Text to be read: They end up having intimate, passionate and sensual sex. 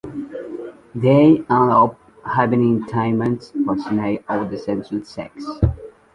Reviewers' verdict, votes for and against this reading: rejected, 0, 2